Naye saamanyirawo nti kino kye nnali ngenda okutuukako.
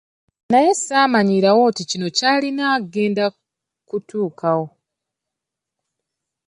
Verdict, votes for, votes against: rejected, 1, 2